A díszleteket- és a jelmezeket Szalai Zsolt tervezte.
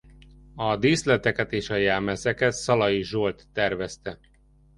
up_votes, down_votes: 2, 0